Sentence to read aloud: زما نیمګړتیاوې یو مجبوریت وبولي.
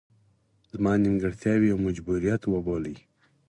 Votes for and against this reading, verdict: 4, 0, accepted